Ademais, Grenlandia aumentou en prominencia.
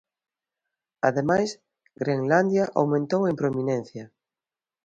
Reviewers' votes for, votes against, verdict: 2, 0, accepted